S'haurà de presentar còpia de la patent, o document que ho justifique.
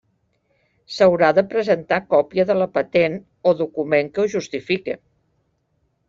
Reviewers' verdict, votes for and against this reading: accepted, 3, 0